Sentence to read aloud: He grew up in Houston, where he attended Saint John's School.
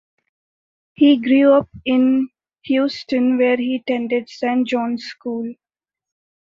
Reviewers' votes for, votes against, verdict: 2, 0, accepted